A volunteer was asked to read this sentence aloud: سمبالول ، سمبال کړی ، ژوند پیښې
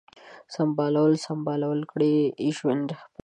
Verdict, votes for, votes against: rejected, 0, 2